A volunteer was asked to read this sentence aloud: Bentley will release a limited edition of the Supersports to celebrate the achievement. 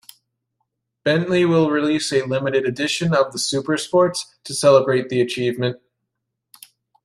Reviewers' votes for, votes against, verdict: 2, 0, accepted